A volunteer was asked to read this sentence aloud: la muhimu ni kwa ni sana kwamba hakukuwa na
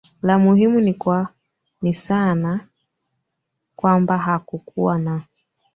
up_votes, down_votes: 2, 0